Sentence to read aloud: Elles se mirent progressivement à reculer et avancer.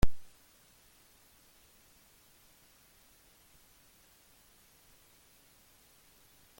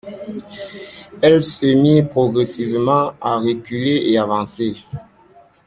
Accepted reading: second